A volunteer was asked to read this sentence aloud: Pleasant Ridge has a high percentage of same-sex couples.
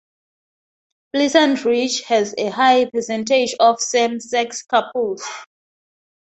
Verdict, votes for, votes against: rejected, 2, 2